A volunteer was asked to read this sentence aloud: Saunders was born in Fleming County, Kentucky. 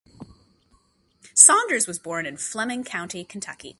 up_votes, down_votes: 2, 0